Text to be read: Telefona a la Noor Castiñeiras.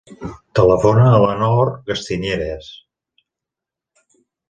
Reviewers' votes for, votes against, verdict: 1, 2, rejected